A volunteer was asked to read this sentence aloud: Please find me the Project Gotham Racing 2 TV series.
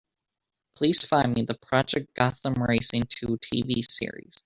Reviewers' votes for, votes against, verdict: 0, 2, rejected